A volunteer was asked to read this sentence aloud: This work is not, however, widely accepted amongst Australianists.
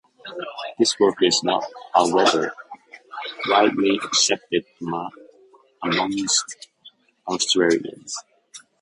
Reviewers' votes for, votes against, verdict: 0, 2, rejected